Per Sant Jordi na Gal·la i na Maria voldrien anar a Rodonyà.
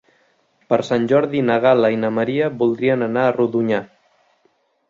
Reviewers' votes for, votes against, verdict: 3, 0, accepted